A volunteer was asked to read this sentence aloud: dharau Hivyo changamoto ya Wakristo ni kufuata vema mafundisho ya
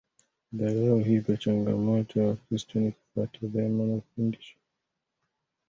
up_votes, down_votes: 0, 2